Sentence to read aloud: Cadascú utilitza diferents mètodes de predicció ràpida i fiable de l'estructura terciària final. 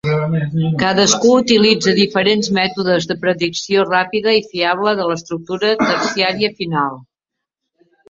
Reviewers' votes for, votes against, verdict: 0, 3, rejected